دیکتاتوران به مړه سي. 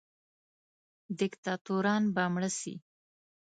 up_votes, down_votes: 2, 0